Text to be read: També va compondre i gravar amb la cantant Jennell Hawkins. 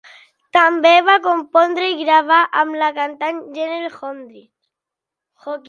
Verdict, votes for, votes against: rejected, 0, 2